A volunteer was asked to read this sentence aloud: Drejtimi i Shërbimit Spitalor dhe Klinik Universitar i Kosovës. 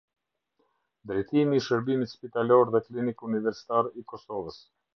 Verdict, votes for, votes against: accepted, 2, 0